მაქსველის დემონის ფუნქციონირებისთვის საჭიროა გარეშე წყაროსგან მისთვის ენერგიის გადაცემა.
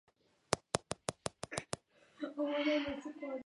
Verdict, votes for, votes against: rejected, 1, 2